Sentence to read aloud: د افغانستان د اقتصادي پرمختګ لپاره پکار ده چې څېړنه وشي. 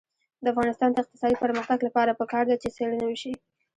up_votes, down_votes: 1, 2